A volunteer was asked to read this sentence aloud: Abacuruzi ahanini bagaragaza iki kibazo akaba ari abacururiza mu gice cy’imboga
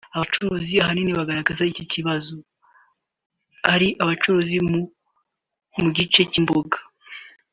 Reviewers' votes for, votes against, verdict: 1, 2, rejected